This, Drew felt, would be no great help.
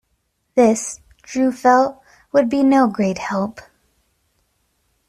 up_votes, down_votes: 3, 0